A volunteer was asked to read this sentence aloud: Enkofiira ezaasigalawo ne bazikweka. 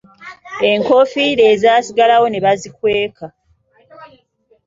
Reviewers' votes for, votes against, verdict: 2, 0, accepted